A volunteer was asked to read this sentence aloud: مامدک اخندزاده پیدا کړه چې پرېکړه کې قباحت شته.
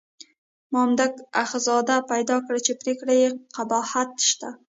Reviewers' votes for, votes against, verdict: 2, 1, accepted